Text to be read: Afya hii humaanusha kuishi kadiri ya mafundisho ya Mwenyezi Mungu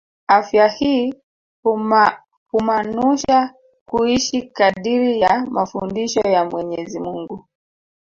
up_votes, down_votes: 2, 1